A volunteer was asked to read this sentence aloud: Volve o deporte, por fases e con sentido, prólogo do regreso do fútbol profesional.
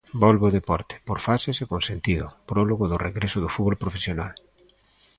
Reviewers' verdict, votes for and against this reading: accepted, 2, 0